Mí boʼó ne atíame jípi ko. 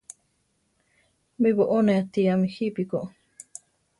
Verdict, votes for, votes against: accepted, 2, 0